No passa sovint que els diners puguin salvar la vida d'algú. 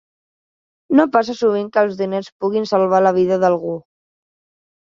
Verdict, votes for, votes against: accepted, 3, 0